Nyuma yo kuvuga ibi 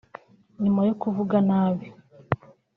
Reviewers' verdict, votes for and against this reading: rejected, 1, 2